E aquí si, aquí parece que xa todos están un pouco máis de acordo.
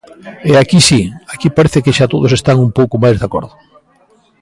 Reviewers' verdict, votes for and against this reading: accepted, 2, 0